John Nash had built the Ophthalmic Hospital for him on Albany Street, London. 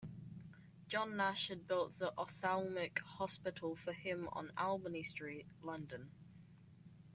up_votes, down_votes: 2, 1